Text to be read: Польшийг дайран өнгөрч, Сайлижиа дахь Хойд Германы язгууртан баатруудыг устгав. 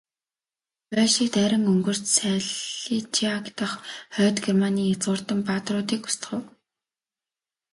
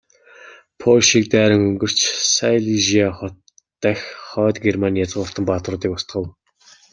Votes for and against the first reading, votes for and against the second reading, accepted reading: 1, 2, 2, 0, second